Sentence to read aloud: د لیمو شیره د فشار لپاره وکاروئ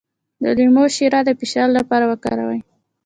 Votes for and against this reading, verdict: 2, 0, accepted